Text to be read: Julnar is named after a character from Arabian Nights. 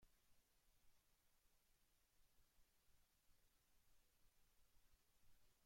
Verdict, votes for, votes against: rejected, 0, 2